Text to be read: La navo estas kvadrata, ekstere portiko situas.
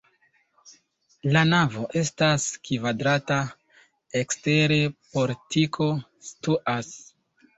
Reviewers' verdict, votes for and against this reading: accepted, 2, 1